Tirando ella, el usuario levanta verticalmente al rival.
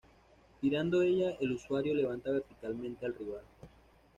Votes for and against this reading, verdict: 1, 2, rejected